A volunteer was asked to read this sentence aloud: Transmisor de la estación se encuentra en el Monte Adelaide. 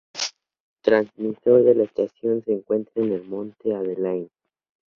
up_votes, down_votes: 4, 0